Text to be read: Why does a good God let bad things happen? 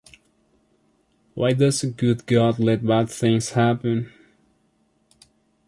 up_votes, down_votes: 2, 0